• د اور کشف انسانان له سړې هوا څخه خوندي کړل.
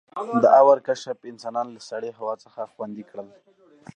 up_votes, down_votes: 0, 2